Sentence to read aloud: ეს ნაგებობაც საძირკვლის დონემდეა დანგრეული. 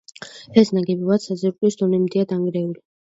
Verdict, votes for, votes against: rejected, 1, 2